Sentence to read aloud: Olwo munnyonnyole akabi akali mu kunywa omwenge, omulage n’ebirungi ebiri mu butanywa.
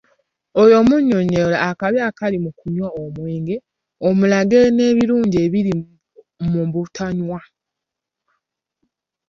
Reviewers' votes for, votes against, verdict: 0, 3, rejected